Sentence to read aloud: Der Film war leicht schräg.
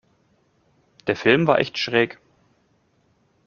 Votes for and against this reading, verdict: 0, 2, rejected